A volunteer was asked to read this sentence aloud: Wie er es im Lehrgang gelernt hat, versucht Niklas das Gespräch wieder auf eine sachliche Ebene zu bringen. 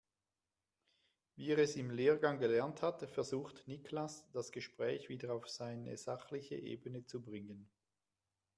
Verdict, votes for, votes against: rejected, 0, 2